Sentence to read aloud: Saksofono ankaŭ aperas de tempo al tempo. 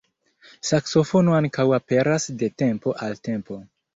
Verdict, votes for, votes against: accepted, 2, 0